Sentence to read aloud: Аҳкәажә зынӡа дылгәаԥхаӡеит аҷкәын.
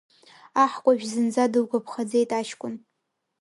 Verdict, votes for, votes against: accepted, 2, 0